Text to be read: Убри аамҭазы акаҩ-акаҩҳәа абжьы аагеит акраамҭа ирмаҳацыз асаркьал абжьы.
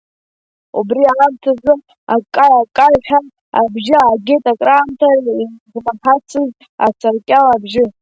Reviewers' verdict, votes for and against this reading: rejected, 0, 2